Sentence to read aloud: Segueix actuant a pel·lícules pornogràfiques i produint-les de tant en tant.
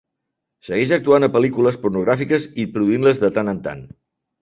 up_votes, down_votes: 2, 0